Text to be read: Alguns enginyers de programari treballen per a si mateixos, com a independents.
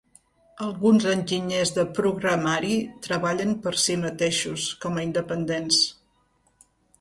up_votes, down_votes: 1, 2